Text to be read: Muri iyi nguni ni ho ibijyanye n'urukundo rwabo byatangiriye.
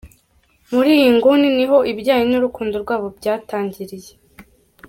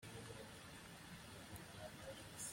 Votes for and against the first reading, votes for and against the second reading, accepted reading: 2, 0, 0, 2, first